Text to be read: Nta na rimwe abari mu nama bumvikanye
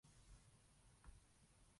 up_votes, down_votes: 0, 2